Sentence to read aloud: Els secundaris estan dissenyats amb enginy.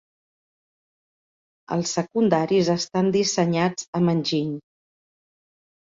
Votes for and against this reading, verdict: 6, 0, accepted